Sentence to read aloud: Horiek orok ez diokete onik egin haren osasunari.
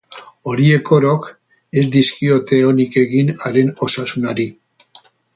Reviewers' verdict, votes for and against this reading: rejected, 2, 2